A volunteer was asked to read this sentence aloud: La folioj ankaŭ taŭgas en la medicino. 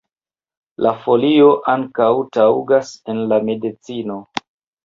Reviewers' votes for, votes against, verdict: 1, 2, rejected